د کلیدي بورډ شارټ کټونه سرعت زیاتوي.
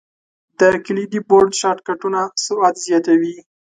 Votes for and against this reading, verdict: 2, 0, accepted